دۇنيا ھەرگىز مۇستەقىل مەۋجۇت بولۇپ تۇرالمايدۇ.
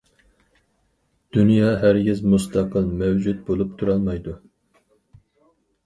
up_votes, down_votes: 4, 0